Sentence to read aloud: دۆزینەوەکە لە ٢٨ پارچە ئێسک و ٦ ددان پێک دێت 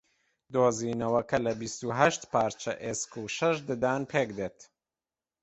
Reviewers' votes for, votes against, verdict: 0, 2, rejected